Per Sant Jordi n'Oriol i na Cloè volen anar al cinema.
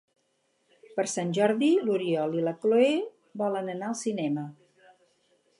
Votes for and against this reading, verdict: 2, 2, rejected